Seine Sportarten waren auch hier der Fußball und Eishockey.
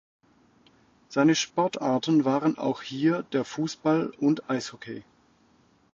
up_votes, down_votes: 2, 0